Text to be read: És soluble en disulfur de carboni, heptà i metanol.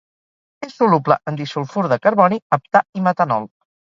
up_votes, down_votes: 2, 2